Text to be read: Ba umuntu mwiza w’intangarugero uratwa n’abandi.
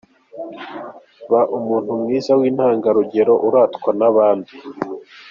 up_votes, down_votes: 2, 0